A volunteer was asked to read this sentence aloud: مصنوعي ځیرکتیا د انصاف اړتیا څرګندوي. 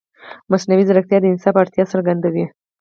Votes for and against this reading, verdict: 4, 0, accepted